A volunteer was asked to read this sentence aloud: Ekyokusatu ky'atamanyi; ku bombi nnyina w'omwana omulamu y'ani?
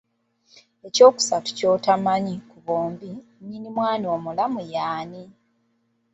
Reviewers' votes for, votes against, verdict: 0, 2, rejected